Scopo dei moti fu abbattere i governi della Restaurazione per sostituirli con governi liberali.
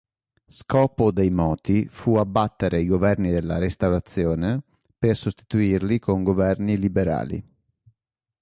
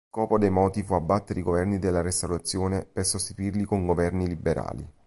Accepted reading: first